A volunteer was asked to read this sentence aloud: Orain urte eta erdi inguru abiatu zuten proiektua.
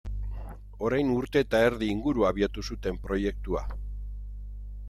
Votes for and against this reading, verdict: 2, 0, accepted